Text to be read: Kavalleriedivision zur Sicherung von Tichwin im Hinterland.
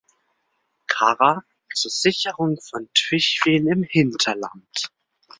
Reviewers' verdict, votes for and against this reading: rejected, 0, 2